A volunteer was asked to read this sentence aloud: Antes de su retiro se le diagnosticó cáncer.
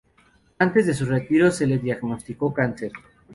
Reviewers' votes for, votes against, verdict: 0, 2, rejected